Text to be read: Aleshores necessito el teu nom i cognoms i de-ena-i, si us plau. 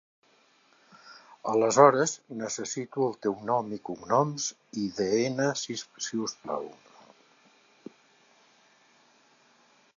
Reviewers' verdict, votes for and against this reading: rejected, 0, 2